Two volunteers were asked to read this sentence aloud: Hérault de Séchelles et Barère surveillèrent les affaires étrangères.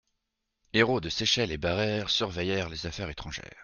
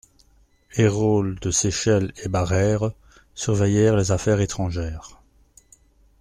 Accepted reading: first